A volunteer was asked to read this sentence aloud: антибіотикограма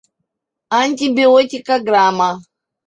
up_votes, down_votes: 0, 2